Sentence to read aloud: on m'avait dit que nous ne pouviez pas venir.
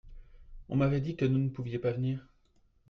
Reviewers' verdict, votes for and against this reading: rejected, 1, 2